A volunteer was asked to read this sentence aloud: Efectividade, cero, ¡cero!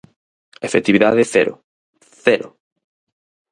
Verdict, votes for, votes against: accepted, 4, 0